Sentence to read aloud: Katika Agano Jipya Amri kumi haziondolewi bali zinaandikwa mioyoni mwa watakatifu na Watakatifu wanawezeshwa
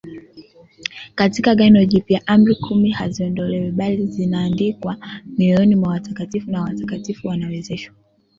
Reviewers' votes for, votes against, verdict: 1, 2, rejected